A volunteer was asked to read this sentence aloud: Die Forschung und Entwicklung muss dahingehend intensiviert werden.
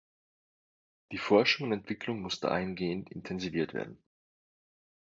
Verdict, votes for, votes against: rejected, 2, 3